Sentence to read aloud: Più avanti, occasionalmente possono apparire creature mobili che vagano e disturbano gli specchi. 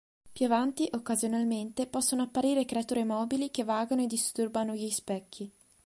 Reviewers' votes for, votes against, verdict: 2, 0, accepted